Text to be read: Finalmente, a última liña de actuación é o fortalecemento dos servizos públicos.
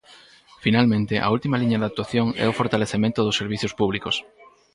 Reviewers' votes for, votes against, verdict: 4, 2, accepted